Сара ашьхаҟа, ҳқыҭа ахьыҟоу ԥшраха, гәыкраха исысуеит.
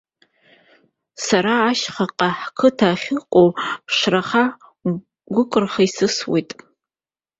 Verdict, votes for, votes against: rejected, 1, 2